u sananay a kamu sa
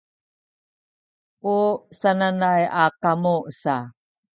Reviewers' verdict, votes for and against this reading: accepted, 3, 0